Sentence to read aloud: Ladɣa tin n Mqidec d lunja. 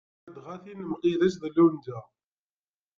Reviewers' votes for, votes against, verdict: 0, 2, rejected